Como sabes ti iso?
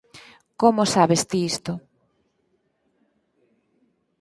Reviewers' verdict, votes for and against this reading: rejected, 0, 4